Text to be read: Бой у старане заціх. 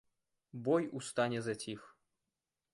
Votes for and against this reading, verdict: 1, 2, rejected